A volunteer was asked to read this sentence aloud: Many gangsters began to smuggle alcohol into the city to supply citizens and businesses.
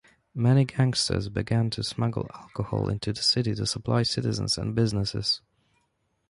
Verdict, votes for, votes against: accepted, 2, 0